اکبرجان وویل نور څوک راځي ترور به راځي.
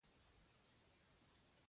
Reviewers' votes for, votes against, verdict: 0, 2, rejected